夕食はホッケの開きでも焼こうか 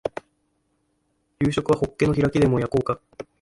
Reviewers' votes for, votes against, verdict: 0, 2, rejected